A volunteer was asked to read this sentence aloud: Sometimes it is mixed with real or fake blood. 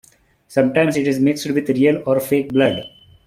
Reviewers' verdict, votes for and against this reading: accepted, 2, 1